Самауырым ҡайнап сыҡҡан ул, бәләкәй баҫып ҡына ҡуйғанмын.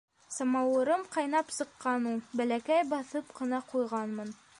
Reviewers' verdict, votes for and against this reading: rejected, 1, 2